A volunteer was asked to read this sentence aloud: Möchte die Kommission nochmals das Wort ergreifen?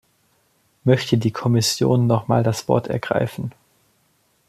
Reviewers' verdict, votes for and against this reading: rejected, 0, 2